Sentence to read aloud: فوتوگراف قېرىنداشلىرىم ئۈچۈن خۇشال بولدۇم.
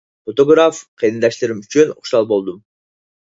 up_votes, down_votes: 4, 0